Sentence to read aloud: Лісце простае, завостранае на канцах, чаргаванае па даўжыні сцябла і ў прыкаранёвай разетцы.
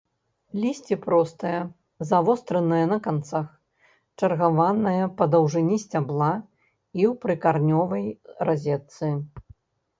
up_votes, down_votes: 0, 2